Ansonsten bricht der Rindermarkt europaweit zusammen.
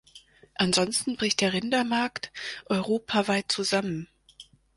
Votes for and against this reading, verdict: 4, 0, accepted